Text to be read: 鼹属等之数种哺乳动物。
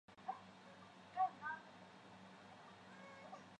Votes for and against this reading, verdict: 1, 5, rejected